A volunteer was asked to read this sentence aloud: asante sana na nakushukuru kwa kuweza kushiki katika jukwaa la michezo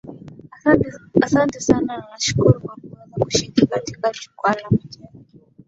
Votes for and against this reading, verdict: 0, 2, rejected